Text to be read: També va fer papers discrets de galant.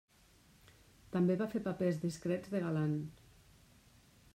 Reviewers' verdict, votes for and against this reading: rejected, 1, 2